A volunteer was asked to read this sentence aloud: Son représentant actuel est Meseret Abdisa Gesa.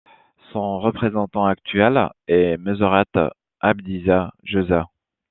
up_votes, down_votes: 2, 0